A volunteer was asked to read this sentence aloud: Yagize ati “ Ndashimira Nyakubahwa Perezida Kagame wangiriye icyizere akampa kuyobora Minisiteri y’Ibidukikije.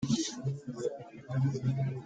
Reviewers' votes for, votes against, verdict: 0, 2, rejected